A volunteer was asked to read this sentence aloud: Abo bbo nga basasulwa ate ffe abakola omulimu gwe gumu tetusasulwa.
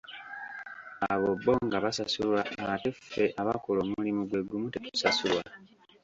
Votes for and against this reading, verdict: 1, 2, rejected